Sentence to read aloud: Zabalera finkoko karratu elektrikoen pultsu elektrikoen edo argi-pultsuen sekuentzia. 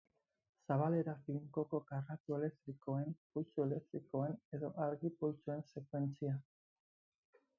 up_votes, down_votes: 2, 4